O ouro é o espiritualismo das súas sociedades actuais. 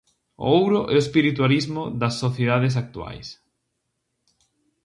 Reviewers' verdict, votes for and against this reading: rejected, 0, 4